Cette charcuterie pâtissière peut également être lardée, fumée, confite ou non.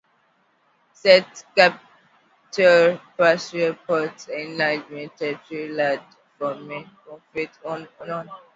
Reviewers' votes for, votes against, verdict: 0, 2, rejected